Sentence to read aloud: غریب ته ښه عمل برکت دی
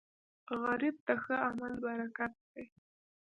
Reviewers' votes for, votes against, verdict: 1, 2, rejected